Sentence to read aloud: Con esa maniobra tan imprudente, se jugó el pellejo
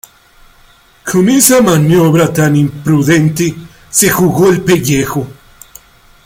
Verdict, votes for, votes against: accepted, 2, 1